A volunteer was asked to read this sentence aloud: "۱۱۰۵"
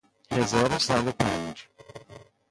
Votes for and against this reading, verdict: 0, 2, rejected